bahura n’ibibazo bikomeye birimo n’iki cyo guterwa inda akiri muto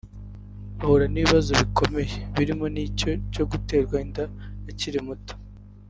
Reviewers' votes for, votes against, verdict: 1, 2, rejected